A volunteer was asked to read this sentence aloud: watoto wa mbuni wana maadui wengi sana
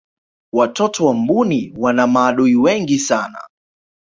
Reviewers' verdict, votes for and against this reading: accepted, 2, 0